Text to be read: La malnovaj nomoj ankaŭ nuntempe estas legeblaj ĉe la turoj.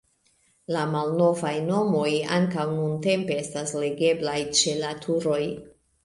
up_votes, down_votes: 0, 2